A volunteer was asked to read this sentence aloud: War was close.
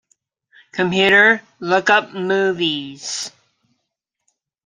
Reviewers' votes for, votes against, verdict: 0, 2, rejected